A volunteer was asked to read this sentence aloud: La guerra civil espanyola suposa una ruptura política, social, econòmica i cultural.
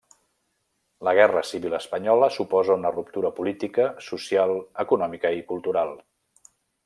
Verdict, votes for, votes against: rejected, 0, 2